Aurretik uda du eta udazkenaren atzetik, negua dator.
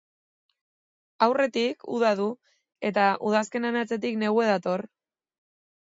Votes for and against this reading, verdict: 4, 0, accepted